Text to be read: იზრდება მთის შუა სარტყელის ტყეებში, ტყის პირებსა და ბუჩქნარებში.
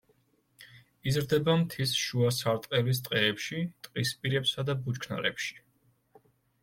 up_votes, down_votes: 3, 0